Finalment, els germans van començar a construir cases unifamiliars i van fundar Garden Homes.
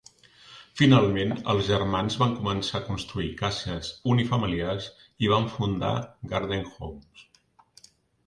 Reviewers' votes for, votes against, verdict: 1, 2, rejected